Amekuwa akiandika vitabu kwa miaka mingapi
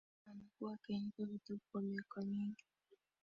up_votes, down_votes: 0, 2